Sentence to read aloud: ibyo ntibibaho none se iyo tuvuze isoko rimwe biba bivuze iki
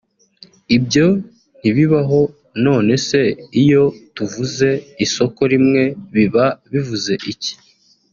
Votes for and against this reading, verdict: 2, 0, accepted